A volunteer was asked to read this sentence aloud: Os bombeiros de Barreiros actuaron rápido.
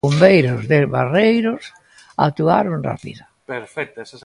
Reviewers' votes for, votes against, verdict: 1, 2, rejected